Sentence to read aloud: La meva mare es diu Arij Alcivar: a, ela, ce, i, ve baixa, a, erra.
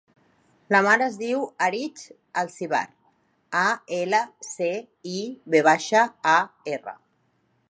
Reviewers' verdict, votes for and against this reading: rejected, 0, 2